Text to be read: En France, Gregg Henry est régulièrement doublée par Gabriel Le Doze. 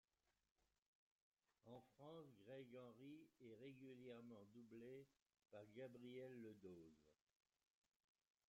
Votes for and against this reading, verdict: 0, 3, rejected